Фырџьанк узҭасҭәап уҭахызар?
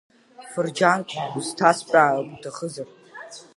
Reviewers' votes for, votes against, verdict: 1, 2, rejected